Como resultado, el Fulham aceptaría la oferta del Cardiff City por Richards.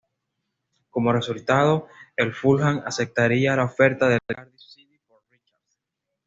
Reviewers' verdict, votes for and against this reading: rejected, 1, 2